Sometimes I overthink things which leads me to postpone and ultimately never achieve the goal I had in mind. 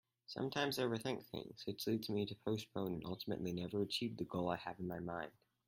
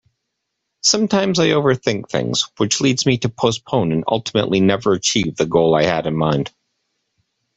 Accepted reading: second